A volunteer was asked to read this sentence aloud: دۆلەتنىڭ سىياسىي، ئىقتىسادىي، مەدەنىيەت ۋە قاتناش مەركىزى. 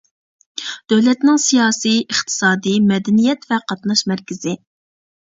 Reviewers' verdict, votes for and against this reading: accepted, 3, 0